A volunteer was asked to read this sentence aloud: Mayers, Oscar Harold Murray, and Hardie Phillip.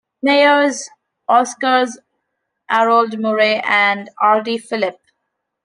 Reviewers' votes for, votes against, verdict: 0, 2, rejected